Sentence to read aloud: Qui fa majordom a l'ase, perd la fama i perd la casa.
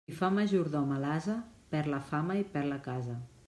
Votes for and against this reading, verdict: 1, 2, rejected